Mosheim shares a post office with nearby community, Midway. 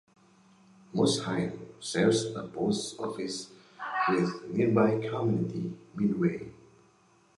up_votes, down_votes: 2, 1